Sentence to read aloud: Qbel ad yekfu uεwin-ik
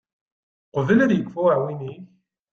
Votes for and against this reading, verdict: 2, 0, accepted